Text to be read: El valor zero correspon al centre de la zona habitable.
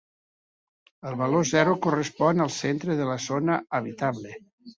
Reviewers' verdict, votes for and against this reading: accepted, 2, 0